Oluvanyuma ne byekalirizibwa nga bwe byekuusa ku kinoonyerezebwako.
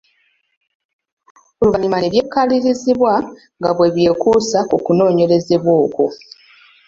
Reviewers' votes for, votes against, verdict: 1, 2, rejected